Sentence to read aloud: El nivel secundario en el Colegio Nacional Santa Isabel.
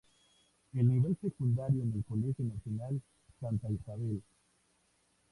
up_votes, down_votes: 2, 0